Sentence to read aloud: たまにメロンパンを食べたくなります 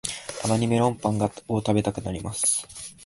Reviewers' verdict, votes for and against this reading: rejected, 0, 2